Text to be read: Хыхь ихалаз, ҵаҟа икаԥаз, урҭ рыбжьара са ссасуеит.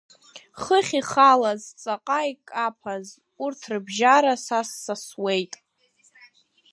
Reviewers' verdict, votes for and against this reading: accepted, 2, 0